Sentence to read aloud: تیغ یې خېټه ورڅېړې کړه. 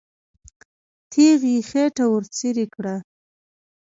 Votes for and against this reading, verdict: 2, 0, accepted